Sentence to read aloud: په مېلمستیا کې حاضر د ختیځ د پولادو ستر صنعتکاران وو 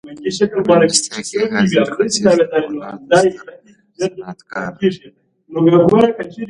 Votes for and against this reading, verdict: 1, 2, rejected